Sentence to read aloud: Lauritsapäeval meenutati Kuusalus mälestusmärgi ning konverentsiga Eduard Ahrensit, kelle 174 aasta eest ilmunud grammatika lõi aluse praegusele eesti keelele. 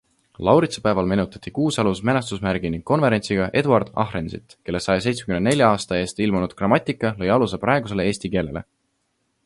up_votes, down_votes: 0, 2